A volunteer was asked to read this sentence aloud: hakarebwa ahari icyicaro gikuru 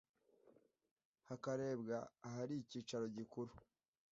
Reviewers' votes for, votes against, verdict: 2, 0, accepted